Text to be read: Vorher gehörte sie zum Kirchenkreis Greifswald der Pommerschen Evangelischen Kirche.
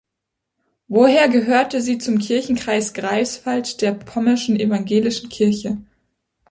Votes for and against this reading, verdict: 0, 2, rejected